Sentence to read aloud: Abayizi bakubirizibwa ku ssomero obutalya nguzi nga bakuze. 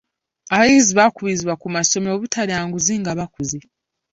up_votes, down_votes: 1, 2